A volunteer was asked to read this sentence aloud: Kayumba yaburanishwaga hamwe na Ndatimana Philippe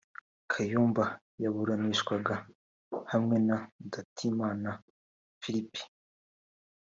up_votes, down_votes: 3, 0